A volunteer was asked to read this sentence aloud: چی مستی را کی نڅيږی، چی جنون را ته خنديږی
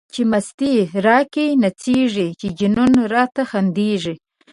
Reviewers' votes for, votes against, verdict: 2, 1, accepted